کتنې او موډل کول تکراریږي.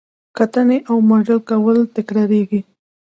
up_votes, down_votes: 0, 2